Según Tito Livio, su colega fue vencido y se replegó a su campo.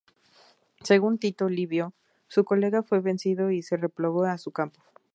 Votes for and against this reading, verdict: 2, 0, accepted